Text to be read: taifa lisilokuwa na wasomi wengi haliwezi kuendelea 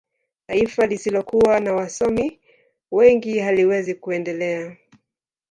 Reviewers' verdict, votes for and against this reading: rejected, 0, 2